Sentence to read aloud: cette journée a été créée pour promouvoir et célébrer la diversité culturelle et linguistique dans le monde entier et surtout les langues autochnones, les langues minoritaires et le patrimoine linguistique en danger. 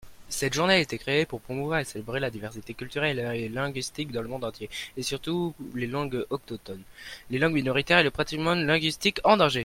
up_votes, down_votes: 0, 2